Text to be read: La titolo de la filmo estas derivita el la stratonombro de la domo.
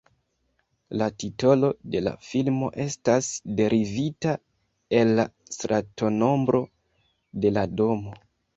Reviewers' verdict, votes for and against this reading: accepted, 2, 0